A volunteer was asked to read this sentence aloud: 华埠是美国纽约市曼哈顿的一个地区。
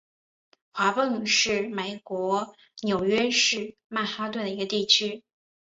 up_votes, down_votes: 1, 2